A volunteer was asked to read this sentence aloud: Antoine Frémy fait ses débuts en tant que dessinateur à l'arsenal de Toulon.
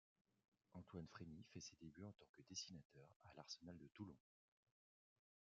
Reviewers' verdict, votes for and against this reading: rejected, 0, 2